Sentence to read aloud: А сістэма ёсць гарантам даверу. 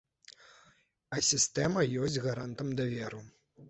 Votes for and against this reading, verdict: 2, 0, accepted